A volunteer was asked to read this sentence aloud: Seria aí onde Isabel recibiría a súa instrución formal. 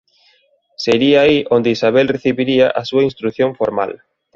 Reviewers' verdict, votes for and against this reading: accepted, 2, 0